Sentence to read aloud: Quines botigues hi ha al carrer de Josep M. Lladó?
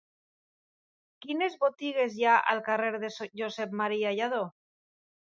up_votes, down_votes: 1, 2